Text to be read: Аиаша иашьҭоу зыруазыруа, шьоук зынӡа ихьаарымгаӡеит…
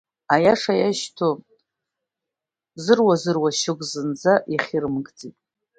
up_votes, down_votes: 1, 2